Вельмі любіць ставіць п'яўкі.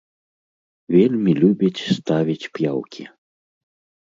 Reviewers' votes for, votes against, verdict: 2, 0, accepted